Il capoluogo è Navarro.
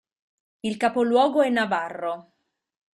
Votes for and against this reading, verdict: 2, 0, accepted